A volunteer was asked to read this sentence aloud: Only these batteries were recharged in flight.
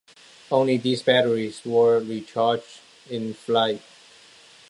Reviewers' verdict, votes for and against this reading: accepted, 2, 1